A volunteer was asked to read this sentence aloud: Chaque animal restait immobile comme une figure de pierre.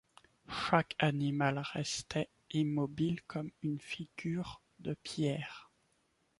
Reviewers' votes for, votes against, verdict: 2, 1, accepted